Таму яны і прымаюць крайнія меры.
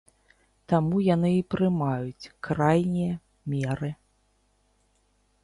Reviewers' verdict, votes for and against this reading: accepted, 2, 0